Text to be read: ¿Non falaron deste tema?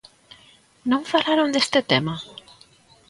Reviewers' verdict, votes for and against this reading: accepted, 2, 0